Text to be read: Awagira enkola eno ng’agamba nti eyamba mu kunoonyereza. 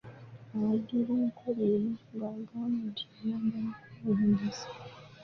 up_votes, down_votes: 0, 2